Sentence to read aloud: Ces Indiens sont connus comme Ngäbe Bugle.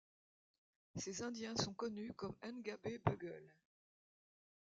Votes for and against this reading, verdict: 0, 2, rejected